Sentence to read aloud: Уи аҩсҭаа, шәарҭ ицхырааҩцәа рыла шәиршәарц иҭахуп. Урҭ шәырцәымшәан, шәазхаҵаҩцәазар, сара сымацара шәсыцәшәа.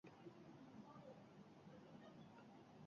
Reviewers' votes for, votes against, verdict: 0, 2, rejected